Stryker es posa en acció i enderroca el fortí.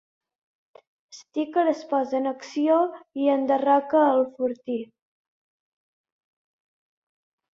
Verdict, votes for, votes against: accepted, 2, 1